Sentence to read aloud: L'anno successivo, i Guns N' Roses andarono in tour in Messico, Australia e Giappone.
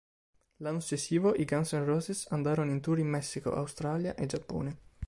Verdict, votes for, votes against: accepted, 2, 0